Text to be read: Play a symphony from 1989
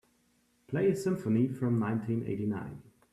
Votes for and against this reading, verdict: 0, 2, rejected